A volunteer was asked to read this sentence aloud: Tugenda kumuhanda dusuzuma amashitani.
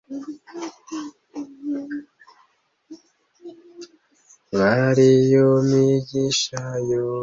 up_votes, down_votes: 0, 2